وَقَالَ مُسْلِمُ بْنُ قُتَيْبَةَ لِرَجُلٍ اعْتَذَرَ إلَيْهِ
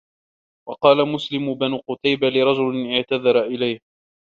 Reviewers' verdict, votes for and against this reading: rejected, 0, 2